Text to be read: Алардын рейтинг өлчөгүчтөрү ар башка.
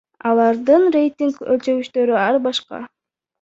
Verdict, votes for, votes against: rejected, 0, 2